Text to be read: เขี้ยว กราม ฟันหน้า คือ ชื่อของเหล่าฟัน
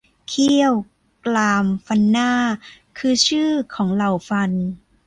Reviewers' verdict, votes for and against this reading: accepted, 2, 0